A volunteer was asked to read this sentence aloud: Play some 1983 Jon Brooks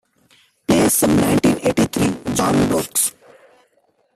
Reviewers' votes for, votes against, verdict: 0, 2, rejected